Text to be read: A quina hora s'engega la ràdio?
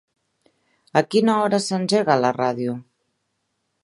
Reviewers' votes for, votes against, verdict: 3, 0, accepted